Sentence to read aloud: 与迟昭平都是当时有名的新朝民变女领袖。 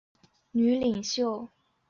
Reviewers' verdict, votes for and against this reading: rejected, 0, 3